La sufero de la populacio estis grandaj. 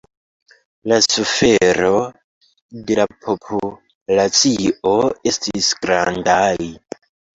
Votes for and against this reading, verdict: 2, 1, accepted